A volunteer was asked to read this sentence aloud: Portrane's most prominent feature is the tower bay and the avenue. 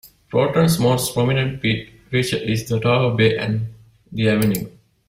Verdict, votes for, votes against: rejected, 0, 2